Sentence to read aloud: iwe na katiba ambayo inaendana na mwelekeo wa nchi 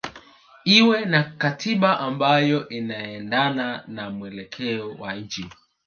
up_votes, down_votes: 2, 0